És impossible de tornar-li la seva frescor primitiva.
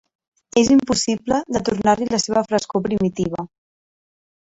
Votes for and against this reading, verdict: 2, 0, accepted